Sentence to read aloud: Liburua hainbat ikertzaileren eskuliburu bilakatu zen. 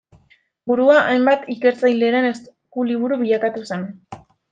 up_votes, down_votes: 0, 2